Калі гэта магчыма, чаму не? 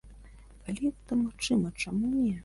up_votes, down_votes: 3, 0